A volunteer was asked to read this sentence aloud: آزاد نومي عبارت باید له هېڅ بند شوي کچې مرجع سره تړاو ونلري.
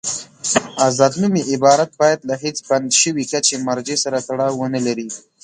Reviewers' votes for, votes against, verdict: 2, 0, accepted